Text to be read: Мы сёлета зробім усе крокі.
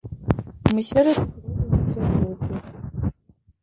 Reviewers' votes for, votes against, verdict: 1, 3, rejected